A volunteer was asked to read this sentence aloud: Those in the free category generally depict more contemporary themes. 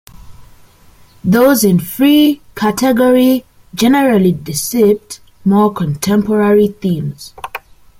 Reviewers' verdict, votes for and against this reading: rejected, 0, 2